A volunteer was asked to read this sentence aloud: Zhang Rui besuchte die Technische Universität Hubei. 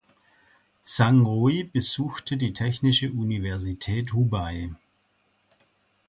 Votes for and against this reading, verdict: 2, 0, accepted